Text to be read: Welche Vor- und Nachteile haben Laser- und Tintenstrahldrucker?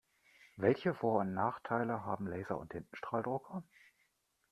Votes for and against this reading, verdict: 2, 0, accepted